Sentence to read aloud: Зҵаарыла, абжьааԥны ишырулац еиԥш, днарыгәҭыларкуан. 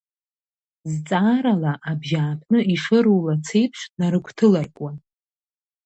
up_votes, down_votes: 1, 2